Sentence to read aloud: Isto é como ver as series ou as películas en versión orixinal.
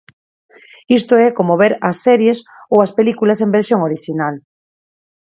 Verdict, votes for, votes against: accepted, 4, 0